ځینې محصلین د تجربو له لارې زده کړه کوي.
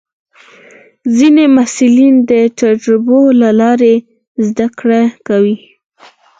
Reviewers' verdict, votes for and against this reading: accepted, 4, 0